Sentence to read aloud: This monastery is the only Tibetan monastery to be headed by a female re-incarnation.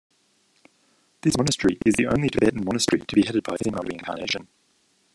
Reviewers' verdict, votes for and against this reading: accepted, 2, 0